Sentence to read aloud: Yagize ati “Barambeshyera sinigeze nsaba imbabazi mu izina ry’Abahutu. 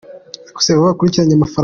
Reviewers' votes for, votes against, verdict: 0, 2, rejected